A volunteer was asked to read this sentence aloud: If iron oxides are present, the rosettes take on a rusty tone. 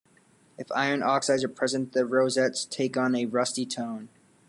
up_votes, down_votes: 2, 0